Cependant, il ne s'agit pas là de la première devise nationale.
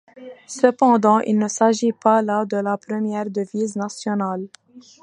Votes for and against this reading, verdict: 1, 2, rejected